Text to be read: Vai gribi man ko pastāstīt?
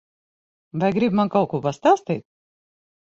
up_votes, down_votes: 3, 6